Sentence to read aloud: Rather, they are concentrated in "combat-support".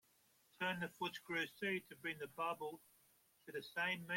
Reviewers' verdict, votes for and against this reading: rejected, 0, 2